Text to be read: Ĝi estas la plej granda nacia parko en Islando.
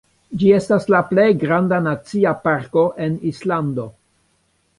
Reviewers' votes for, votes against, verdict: 2, 0, accepted